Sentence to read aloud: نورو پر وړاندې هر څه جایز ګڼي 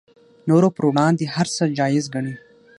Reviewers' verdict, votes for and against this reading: accepted, 6, 0